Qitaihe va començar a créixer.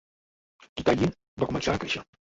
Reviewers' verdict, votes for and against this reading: rejected, 1, 2